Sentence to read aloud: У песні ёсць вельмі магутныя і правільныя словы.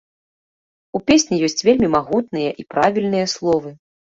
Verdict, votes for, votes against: accepted, 2, 0